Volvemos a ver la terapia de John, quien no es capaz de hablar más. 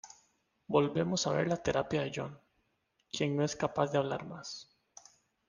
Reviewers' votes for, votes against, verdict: 2, 0, accepted